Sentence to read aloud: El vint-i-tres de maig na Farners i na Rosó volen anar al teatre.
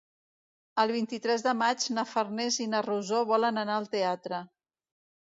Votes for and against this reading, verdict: 2, 0, accepted